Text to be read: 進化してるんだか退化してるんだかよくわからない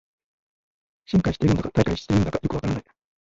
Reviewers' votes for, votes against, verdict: 0, 2, rejected